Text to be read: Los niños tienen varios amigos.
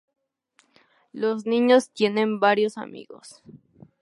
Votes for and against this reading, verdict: 2, 0, accepted